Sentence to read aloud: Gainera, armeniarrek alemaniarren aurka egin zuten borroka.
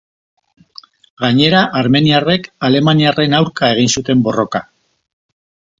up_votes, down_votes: 2, 0